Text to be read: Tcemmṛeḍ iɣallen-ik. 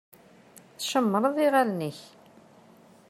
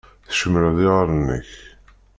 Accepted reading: first